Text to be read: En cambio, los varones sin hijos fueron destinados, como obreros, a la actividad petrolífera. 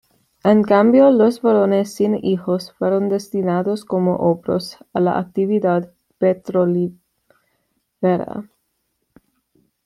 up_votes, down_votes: 1, 2